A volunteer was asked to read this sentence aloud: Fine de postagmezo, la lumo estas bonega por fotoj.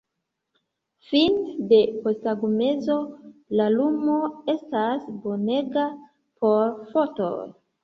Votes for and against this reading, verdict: 1, 2, rejected